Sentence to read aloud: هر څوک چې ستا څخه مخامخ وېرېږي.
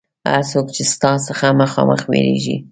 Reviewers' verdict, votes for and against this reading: accepted, 2, 0